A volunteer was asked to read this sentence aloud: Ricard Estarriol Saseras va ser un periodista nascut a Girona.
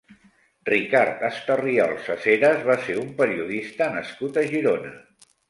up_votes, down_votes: 2, 0